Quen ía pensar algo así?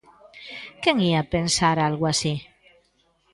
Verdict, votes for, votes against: accepted, 2, 0